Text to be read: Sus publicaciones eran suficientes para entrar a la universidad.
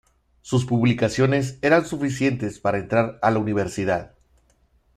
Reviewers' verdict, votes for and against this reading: accepted, 2, 1